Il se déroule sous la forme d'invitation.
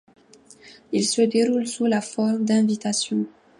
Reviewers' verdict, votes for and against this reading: accepted, 2, 0